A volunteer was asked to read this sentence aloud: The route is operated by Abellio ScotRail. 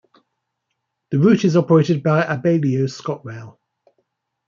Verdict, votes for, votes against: accepted, 2, 0